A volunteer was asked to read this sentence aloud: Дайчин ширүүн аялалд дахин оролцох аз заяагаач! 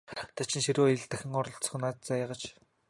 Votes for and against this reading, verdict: 3, 1, accepted